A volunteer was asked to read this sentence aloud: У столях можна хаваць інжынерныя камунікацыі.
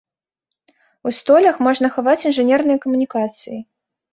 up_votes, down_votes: 2, 0